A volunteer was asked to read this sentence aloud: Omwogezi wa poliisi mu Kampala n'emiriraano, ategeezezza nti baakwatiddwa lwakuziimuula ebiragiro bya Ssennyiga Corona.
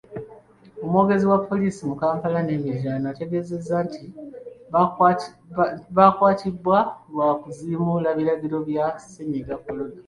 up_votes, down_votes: 1, 2